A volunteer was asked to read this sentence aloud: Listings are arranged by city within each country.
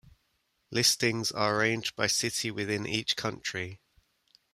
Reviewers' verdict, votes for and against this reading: rejected, 1, 2